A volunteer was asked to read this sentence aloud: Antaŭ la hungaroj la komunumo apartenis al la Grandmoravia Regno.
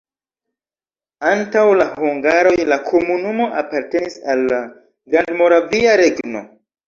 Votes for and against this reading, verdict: 2, 0, accepted